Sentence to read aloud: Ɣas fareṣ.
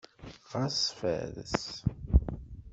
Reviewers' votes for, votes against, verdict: 1, 2, rejected